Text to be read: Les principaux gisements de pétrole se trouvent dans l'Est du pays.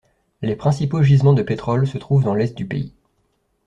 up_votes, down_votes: 2, 0